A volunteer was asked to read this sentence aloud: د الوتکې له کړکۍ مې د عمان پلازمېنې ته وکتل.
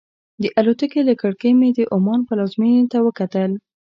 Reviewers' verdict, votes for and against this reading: accepted, 2, 0